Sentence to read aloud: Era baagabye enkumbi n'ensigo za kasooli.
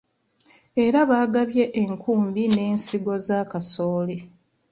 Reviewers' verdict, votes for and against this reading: accepted, 2, 1